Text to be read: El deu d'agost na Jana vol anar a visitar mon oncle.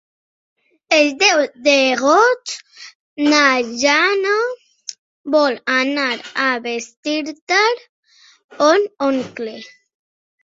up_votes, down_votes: 1, 2